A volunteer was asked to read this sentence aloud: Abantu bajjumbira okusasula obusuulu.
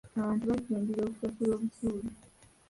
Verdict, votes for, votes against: rejected, 1, 3